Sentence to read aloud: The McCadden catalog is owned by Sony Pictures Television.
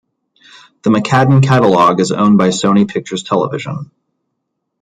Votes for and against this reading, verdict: 2, 0, accepted